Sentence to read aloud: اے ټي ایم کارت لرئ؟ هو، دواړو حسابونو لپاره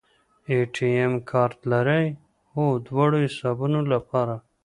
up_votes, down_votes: 2, 0